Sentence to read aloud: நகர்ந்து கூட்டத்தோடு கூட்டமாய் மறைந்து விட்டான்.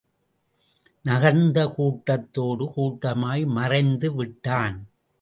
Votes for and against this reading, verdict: 2, 0, accepted